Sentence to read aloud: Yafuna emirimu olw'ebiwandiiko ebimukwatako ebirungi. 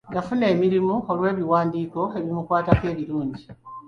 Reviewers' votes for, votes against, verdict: 3, 0, accepted